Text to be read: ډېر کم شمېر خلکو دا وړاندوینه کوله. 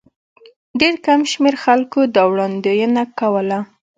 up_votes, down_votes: 2, 0